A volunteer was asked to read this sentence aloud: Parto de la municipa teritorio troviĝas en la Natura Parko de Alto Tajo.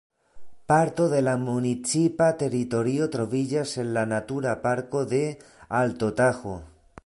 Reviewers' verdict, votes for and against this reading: rejected, 2, 5